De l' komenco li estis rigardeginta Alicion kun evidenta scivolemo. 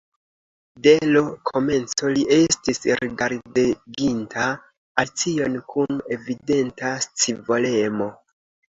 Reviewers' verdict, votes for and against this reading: accepted, 2, 0